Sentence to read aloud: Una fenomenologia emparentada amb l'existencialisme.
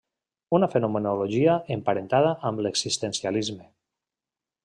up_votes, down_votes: 2, 1